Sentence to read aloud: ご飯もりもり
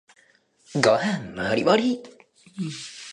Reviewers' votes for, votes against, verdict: 2, 0, accepted